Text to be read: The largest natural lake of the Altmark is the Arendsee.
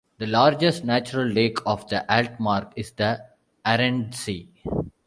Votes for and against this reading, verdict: 2, 0, accepted